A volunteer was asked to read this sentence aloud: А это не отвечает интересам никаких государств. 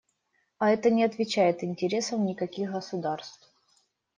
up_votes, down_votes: 2, 0